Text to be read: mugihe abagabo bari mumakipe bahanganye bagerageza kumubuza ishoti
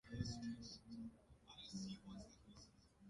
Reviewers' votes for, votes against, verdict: 0, 2, rejected